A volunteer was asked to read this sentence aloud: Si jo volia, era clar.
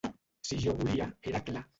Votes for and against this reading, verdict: 0, 2, rejected